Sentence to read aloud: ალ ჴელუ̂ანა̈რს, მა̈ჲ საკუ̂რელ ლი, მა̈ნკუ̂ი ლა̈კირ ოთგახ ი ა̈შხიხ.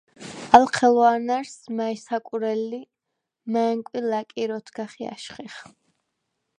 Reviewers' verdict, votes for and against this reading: rejected, 0, 4